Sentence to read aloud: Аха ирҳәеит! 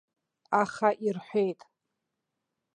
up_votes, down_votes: 2, 0